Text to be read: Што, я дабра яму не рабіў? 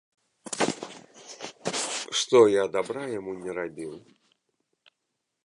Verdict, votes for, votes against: rejected, 1, 2